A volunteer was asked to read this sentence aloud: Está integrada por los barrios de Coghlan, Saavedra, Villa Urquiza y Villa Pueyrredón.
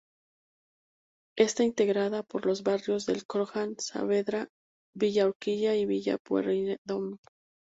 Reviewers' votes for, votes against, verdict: 0, 2, rejected